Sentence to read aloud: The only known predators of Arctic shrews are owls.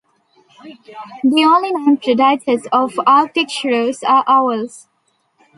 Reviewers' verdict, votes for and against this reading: accepted, 2, 1